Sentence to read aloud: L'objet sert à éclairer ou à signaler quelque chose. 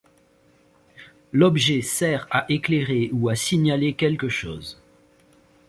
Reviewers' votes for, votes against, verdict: 2, 0, accepted